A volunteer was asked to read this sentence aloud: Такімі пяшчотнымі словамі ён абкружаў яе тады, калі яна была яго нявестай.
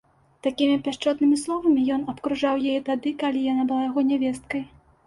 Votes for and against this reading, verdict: 0, 2, rejected